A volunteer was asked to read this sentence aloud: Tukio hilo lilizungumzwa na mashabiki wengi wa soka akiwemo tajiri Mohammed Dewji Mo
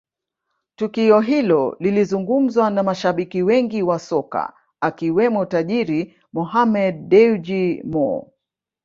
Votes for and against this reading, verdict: 0, 2, rejected